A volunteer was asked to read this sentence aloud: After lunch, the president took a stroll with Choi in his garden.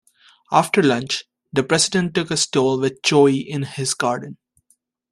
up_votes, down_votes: 2, 0